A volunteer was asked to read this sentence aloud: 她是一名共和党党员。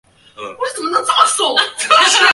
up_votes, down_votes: 0, 2